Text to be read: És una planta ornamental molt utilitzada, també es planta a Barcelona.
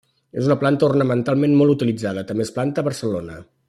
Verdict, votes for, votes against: rejected, 1, 2